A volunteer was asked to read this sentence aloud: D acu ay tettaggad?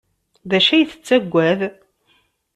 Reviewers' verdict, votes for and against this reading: accepted, 2, 0